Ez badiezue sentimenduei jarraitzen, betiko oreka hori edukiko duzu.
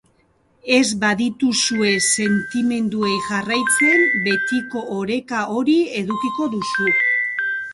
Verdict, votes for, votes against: accepted, 2, 0